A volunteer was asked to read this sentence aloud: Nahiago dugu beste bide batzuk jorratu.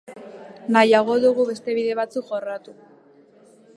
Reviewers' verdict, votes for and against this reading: rejected, 1, 2